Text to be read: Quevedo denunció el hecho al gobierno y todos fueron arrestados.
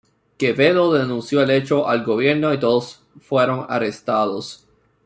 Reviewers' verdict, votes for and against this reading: rejected, 1, 2